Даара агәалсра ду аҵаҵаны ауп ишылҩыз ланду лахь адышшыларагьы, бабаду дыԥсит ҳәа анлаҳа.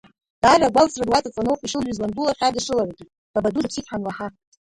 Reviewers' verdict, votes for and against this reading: rejected, 1, 3